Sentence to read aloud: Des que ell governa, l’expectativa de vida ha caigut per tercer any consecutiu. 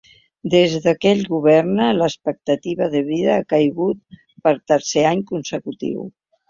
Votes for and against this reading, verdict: 2, 0, accepted